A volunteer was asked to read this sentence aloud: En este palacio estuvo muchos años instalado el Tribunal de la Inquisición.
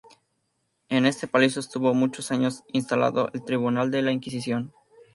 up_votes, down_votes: 2, 0